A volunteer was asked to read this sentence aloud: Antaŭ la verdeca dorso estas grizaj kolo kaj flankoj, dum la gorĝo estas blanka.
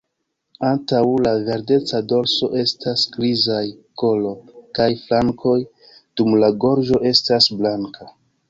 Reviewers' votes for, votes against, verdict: 2, 1, accepted